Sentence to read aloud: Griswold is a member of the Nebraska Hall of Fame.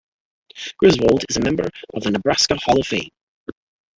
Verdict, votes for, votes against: accepted, 3, 2